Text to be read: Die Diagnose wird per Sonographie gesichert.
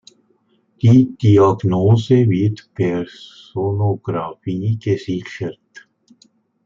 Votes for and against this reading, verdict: 3, 0, accepted